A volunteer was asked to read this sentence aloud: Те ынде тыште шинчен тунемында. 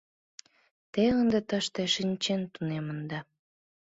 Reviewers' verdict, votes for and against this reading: accepted, 2, 0